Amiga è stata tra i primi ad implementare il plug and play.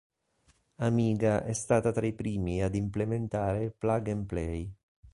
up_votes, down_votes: 3, 0